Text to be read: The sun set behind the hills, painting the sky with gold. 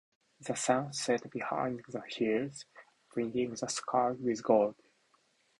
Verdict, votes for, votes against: accepted, 2, 0